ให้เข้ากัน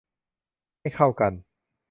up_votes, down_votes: 2, 1